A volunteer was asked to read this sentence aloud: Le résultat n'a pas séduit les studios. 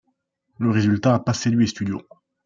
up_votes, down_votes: 1, 2